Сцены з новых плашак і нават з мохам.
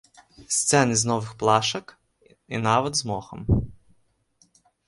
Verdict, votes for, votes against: rejected, 1, 2